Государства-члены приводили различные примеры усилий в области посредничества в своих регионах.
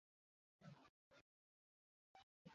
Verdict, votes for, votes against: rejected, 0, 2